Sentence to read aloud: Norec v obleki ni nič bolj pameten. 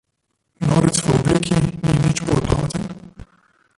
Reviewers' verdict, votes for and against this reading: rejected, 1, 2